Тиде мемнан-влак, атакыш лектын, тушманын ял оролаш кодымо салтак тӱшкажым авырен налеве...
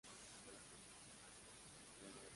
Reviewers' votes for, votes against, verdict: 0, 2, rejected